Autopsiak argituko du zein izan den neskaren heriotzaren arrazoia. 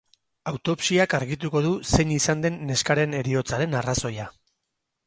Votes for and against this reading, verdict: 8, 0, accepted